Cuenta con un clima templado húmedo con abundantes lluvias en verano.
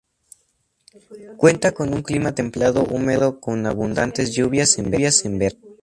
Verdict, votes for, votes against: rejected, 0, 2